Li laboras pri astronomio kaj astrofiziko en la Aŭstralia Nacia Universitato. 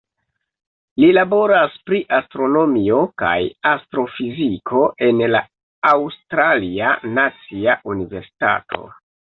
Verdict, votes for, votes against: rejected, 1, 2